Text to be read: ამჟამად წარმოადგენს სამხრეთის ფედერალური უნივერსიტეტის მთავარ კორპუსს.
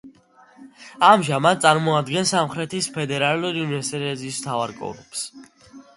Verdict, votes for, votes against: rejected, 0, 2